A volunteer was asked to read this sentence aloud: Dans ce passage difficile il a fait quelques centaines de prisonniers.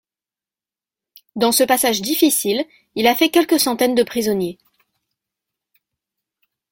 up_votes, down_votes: 2, 0